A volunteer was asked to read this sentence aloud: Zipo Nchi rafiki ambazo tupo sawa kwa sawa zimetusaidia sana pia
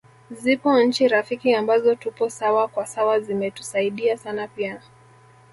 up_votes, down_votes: 1, 2